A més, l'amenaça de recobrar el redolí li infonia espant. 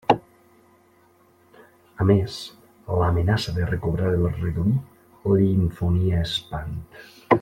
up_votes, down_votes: 0, 2